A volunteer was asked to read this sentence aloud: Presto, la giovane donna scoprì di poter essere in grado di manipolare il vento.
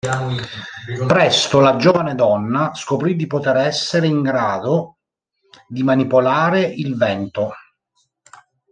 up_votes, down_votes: 3, 2